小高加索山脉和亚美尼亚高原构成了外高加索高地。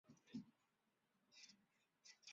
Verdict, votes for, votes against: rejected, 0, 4